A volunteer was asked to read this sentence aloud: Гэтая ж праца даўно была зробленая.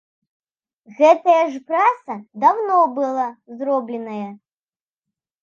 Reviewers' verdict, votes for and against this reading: accepted, 2, 0